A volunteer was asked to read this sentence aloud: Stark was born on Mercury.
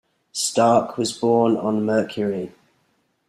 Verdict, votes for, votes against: rejected, 1, 2